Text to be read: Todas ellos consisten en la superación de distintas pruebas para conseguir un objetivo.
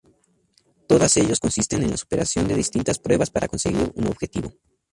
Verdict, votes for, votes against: accepted, 2, 0